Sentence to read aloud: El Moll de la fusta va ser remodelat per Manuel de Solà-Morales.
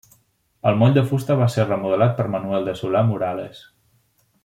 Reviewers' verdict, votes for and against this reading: rejected, 0, 2